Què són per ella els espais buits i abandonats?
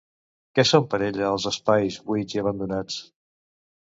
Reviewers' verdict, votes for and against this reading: accepted, 2, 0